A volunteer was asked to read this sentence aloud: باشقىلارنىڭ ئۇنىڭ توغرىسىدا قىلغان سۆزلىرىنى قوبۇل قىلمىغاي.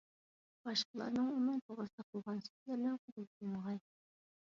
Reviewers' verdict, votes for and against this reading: rejected, 0, 2